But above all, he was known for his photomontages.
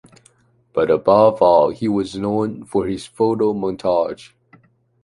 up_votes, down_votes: 0, 2